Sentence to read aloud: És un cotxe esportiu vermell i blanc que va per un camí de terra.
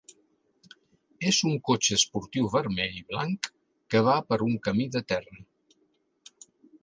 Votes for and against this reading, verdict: 3, 0, accepted